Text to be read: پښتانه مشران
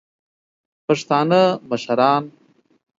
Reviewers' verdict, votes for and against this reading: accepted, 2, 0